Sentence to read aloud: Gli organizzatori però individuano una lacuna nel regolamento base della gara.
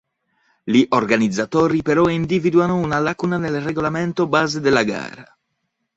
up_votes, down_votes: 1, 3